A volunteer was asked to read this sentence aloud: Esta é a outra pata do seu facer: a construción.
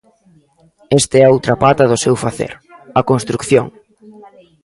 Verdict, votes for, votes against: rejected, 0, 2